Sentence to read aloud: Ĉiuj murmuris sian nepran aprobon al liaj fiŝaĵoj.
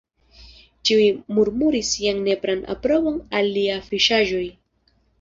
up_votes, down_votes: 2, 0